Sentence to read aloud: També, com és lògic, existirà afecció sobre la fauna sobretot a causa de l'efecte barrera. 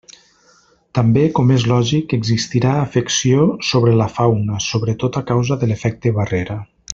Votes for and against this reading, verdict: 3, 0, accepted